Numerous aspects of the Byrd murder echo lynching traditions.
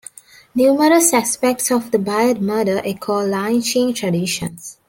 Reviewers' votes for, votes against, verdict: 0, 2, rejected